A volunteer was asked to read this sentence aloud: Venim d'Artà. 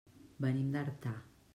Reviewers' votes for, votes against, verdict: 1, 2, rejected